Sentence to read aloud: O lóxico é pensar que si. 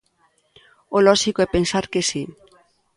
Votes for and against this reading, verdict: 3, 0, accepted